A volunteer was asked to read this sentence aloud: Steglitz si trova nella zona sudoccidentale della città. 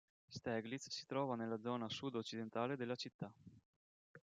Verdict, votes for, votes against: accepted, 2, 0